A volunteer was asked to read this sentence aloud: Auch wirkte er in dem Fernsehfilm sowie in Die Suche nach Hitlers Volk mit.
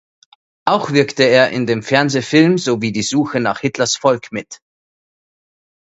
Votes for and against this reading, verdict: 0, 2, rejected